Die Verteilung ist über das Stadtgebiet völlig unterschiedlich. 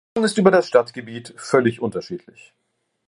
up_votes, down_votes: 0, 2